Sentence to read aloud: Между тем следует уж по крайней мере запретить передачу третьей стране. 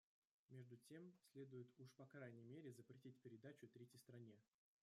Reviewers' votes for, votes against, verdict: 0, 2, rejected